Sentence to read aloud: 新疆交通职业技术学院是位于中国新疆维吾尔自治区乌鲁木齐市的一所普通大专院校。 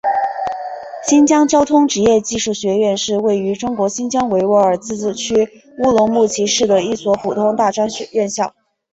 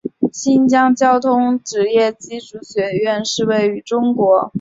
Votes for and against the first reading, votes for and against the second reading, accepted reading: 2, 1, 0, 2, first